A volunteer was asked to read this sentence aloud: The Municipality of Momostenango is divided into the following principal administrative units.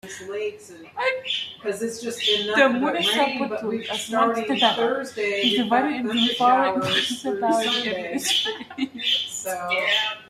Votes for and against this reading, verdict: 0, 2, rejected